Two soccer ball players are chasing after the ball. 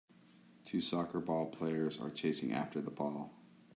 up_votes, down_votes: 2, 0